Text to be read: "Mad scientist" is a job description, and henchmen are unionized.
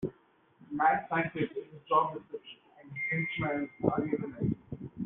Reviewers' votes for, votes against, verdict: 1, 2, rejected